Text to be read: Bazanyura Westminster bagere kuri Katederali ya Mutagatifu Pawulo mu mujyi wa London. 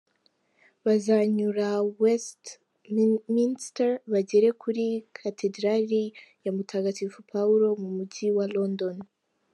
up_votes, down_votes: 1, 2